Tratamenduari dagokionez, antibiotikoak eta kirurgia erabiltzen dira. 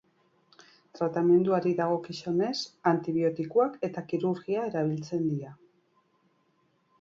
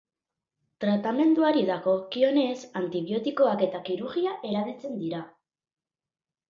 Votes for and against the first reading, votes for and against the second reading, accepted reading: 2, 3, 2, 0, second